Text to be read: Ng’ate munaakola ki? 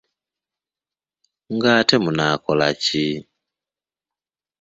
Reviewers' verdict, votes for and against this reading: accepted, 2, 0